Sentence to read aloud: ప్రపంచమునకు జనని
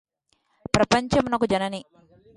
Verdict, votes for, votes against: accepted, 2, 0